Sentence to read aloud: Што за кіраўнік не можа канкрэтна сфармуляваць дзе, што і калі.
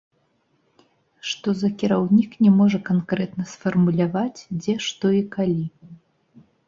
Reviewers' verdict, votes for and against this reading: rejected, 1, 2